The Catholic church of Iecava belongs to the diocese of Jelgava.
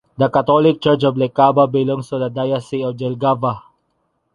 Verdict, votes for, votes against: accepted, 2, 0